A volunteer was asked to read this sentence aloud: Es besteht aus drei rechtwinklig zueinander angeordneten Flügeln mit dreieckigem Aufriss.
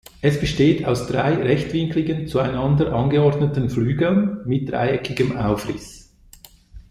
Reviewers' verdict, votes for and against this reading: rejected, 1, 2